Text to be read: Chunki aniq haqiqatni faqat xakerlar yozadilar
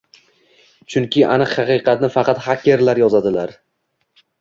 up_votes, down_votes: 2, 0